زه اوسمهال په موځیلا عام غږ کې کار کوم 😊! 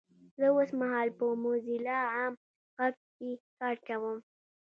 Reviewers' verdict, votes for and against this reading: accepted, 2, 0